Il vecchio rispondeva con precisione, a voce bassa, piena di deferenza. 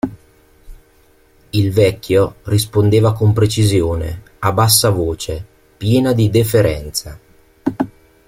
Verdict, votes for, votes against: rejected, 1, 2